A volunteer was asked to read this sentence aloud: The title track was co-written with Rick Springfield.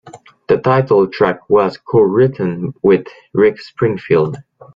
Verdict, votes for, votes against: accepted, 2, 0